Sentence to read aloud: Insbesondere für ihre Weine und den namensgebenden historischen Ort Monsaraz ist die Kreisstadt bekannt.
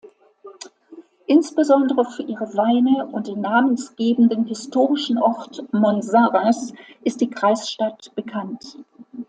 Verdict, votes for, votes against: accepted, 2, 0